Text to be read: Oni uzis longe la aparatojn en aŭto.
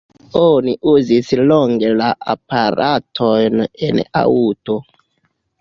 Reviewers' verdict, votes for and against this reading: rejected, 0, 2